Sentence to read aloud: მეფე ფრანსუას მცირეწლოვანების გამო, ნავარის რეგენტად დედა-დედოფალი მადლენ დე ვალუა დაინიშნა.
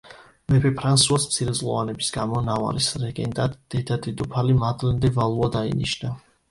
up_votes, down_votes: 2, 0